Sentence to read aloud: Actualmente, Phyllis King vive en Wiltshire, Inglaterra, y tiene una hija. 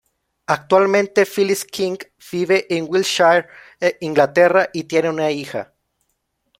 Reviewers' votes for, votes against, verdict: 1, 2, rejected